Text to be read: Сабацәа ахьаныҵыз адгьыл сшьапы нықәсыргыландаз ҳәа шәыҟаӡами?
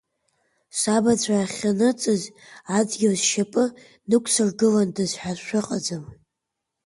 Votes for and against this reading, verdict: 2, 0, accepted